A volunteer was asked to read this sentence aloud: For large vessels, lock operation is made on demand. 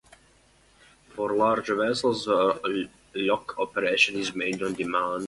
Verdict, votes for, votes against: rejected, 0, 3